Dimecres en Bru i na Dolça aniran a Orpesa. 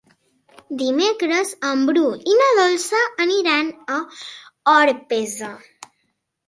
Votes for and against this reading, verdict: 3, 0, accepted